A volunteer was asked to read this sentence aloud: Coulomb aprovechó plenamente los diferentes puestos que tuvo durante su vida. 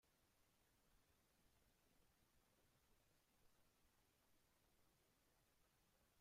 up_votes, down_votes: 0, 2